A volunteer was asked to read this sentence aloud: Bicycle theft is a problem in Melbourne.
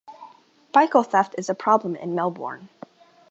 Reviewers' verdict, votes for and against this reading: rejected, 1, 2